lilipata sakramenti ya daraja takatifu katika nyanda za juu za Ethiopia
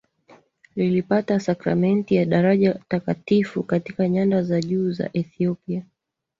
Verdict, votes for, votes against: accepted, 3, 0